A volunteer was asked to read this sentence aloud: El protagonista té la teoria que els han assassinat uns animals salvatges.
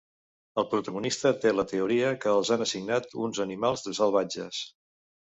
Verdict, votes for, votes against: rejected, 0, 2